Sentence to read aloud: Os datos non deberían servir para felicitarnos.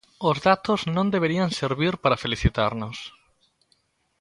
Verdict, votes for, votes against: accepted, 2, 0